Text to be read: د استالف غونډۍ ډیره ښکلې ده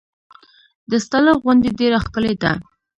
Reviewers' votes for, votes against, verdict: 1, 2, rejected